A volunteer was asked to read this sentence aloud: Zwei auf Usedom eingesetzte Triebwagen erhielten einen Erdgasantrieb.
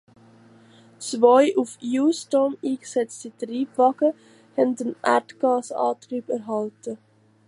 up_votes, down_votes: 0, 2